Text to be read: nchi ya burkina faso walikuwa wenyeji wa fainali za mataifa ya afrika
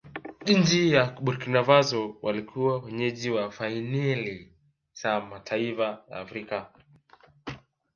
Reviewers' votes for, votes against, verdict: 1, 2, rejected